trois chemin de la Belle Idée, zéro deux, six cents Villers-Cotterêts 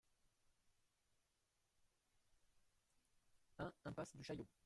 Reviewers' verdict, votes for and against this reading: rejected, 0, 2